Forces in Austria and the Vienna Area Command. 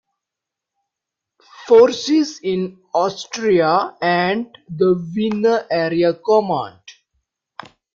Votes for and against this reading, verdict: 0, 2, rejected